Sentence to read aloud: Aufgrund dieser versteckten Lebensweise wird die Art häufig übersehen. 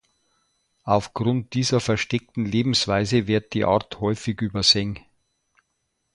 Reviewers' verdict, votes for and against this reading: accepted, 2, 0